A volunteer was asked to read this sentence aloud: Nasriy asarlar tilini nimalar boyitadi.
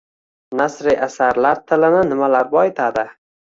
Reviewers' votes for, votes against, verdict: 2, 0, accepted